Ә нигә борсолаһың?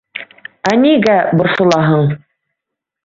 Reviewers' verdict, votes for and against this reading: accepted, 2, 0